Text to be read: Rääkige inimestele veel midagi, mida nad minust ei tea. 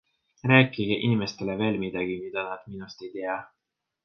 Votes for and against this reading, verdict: 2, 0, accepted